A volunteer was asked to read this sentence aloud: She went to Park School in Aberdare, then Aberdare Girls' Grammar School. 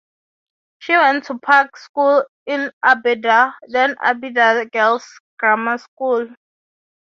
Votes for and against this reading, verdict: 3, 0, accepted